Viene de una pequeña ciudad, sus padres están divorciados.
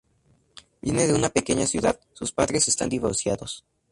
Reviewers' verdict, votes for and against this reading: accepted, 4, 0